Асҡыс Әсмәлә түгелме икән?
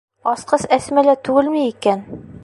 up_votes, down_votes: 1, 2